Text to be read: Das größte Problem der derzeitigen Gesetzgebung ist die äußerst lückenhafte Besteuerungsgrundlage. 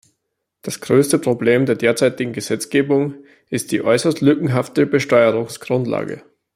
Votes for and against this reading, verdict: 2, 0, accepted